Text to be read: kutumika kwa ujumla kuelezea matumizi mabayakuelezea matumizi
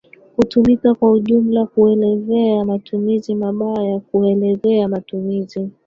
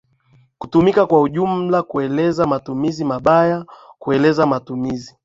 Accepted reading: second